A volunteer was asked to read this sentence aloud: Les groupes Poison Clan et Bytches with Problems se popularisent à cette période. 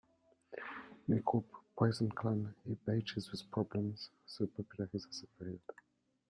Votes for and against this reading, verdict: 2, 0, accepted